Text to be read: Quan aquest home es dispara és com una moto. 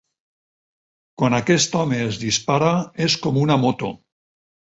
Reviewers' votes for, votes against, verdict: 6, 0, accepted